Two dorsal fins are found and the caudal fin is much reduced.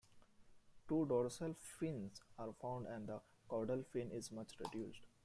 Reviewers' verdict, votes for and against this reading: accepted, 2, 1